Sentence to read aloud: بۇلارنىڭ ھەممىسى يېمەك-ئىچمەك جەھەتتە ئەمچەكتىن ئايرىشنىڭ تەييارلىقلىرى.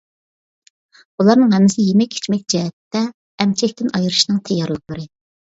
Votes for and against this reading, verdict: 2, 0, accepted